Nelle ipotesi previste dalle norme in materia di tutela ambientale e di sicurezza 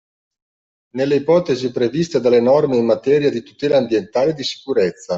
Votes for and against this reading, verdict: 2, 0, accepted